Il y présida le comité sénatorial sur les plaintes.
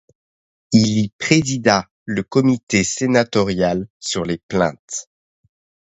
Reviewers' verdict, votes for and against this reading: accepted, 2, 0